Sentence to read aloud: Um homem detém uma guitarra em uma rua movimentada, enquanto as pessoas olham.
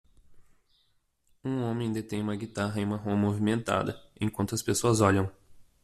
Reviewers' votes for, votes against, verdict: 2, 0, accepted